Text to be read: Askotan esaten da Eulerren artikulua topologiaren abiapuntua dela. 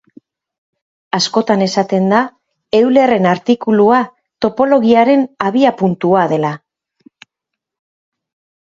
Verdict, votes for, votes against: accepted, 4, 0